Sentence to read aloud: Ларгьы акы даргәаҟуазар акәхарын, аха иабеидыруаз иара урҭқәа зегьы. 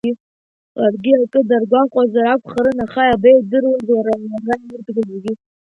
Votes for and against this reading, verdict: 0, 2, rejected